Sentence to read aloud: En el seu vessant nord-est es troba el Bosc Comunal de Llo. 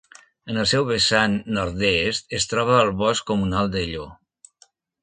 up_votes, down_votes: 2, 0